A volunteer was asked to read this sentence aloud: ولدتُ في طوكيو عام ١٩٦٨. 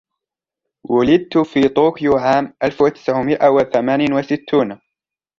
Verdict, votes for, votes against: rejected, 0, 2